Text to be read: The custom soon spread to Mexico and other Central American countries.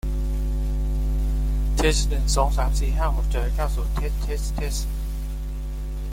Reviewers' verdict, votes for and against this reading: rejected, 0, 2